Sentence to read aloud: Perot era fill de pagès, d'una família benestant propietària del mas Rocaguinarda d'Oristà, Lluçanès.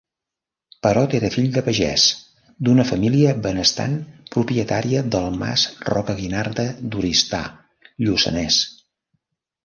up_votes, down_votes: 2, 0